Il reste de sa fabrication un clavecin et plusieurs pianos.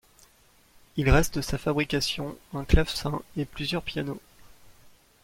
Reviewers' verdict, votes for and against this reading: accepted, 2, 0